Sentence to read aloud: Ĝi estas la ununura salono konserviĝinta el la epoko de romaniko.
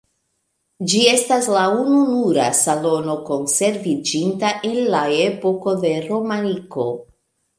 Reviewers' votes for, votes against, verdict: 2, 0, accepted